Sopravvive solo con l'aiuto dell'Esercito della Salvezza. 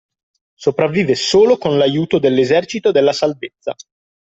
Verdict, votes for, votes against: accepted, 2, 0